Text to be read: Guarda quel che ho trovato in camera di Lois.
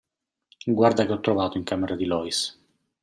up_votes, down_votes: 1, 2